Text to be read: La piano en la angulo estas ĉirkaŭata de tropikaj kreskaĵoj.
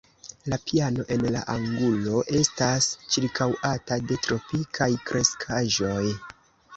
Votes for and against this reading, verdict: 2, 1, accepted